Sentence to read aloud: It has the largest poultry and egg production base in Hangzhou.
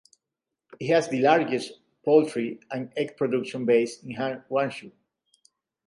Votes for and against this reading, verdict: 0, 2, rejected